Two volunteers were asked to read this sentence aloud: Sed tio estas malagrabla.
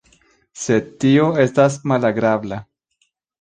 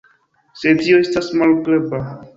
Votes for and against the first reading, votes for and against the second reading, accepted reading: 2, 0, 1, 2, first